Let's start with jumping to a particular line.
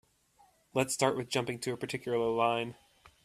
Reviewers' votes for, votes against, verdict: 2, 0, accepted